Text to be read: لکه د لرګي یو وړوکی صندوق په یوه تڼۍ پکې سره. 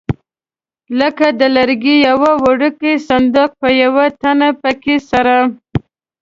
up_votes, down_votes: 0, 2